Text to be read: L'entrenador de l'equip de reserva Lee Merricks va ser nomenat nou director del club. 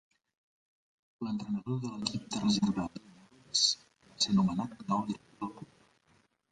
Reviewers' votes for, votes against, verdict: 0, 2, rejected